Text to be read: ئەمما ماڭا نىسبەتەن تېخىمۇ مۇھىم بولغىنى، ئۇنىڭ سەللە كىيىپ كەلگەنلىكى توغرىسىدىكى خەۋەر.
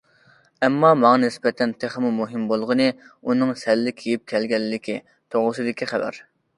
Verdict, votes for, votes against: accepted, 2, 0